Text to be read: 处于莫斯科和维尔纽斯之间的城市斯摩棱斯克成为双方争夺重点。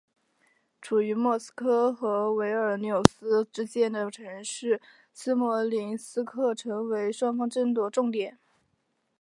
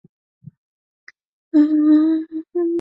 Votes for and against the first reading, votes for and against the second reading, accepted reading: 4, 1, 0, 4, first